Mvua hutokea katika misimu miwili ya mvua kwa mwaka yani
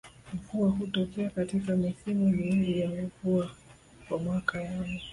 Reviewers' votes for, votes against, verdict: 0, 2, rejected